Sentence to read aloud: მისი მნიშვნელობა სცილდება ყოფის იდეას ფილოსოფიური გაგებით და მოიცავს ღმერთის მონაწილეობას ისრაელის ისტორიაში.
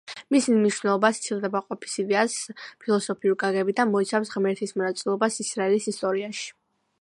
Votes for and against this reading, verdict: 2, 0, accepted